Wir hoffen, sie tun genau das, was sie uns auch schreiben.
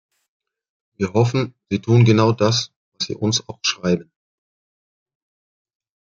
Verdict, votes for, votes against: rejected, 1, 2